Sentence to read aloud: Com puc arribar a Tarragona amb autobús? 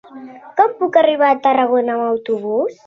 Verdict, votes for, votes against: accepted, 3, 0